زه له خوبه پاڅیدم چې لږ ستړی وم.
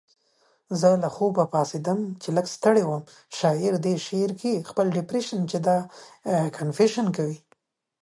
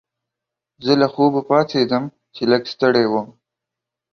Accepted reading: second